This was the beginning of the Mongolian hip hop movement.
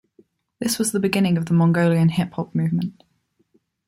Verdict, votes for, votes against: accepted, 2, 0